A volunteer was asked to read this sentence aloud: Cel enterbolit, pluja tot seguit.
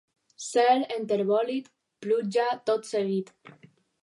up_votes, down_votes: 0, 2